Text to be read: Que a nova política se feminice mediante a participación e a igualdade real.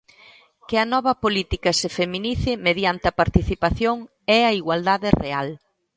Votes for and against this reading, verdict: 2, 0, accepted